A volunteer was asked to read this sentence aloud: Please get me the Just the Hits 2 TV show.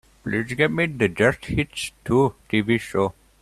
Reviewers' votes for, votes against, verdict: 0, 2, rejected